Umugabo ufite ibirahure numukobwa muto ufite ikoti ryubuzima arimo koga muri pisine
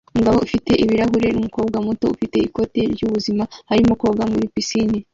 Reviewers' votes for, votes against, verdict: 1, 2, rejected